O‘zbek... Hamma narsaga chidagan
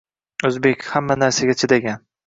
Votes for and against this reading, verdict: 2, 0, accepted